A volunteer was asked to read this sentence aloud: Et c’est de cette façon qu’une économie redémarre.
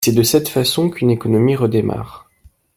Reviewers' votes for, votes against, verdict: 1, 2, rejected